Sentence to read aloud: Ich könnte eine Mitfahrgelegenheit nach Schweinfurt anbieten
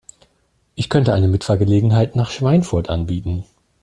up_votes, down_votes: 2, 0